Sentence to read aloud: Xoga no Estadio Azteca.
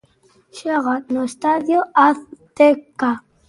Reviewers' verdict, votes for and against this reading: rejected, 1, 2